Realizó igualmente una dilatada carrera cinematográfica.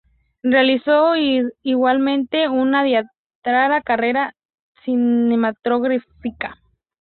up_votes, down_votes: 0, 2